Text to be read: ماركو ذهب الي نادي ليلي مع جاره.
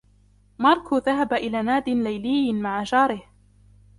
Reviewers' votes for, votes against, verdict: 2, 0, accepted